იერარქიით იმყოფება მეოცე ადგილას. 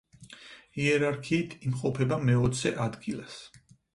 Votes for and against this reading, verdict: 4, 0, accepted